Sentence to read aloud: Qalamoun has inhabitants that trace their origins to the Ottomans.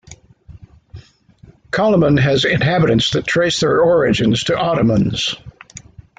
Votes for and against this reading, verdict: 1, 2, rejected